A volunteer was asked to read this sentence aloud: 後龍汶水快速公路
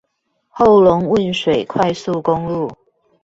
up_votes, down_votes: 2, 0